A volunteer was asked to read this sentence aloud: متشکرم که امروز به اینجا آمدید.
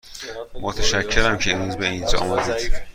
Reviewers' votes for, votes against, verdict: 2, 0, accepted